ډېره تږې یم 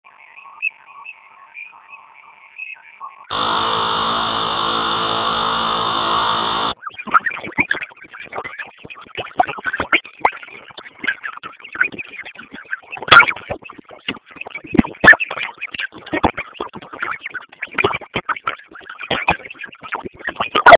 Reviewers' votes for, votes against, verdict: 0, 2, rejected